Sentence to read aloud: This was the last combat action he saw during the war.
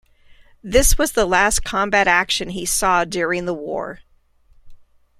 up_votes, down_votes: 2, 0